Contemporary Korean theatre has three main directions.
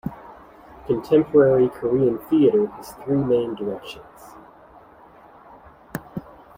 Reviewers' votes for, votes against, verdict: 2, 0, accepted